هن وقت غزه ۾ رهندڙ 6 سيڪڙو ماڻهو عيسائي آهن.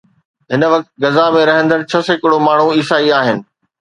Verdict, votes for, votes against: rejected, 0, 2